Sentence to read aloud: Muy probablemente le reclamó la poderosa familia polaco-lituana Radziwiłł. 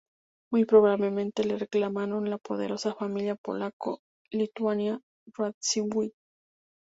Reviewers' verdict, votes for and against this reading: accepted, 2, 0